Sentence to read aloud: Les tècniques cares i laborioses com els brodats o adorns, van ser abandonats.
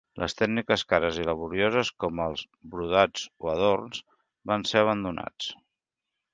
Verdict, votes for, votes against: accepted, 3, 1